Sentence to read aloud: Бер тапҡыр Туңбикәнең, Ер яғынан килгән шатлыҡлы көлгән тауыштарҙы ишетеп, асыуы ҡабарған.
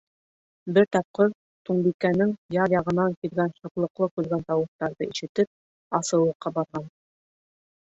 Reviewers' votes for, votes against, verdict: 1, 3, rejected